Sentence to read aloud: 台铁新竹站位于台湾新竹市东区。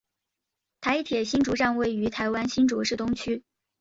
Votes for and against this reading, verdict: 2, 0, accepted